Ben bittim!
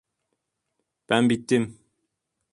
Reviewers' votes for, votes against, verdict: 2, 0, accepted